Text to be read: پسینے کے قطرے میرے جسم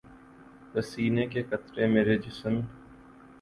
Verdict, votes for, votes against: accepted, 4, 0